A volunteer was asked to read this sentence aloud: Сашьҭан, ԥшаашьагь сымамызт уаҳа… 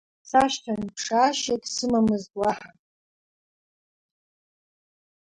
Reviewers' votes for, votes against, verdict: 1, 2, rejected